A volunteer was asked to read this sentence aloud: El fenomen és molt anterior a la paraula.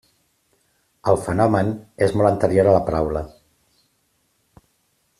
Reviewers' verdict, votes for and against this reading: accepted, 3, 0